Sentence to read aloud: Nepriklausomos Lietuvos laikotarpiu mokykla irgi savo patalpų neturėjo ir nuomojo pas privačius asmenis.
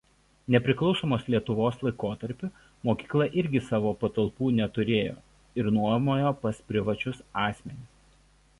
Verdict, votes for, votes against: accepted, 2, 0